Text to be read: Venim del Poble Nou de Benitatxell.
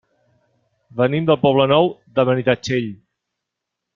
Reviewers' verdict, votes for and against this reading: accepted, 2, 0